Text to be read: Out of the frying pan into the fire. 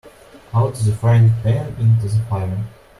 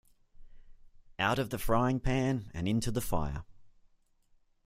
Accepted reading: first